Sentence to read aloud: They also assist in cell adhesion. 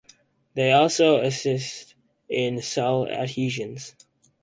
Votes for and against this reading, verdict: 0, 4, rejected